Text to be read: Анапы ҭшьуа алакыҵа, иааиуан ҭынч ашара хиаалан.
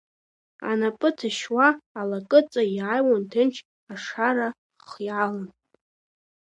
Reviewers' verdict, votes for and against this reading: rejected, 1, 2